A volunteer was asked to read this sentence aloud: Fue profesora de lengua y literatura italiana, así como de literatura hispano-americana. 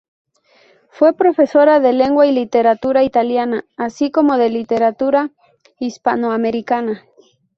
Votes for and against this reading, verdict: 2, 0, accepted